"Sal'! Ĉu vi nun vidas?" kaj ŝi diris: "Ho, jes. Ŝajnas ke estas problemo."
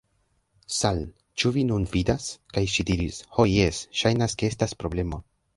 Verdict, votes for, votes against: rejected, 1, 2